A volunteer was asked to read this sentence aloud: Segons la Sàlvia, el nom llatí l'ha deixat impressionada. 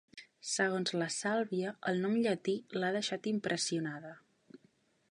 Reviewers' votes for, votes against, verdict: 3, 0, accepted